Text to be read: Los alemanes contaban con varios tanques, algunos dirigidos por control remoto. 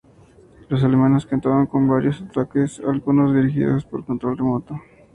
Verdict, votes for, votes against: rejected, 0, 2